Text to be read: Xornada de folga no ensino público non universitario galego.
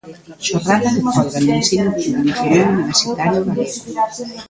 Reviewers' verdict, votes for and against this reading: rejected, 0, 2